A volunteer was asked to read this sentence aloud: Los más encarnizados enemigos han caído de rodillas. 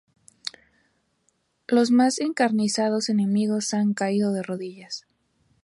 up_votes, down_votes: 2, 0